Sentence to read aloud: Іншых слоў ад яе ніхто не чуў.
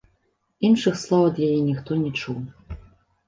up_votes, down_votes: 2, 0